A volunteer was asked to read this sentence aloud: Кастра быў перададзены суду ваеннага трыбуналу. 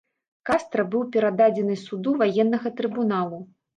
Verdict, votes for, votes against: accepted, 2, 0